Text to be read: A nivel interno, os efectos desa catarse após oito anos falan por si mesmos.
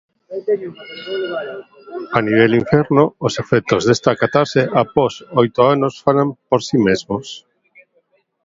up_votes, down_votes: 1, 2